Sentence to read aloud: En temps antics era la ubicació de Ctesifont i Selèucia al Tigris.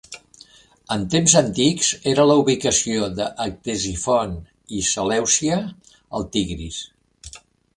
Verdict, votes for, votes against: accepted, 2, 1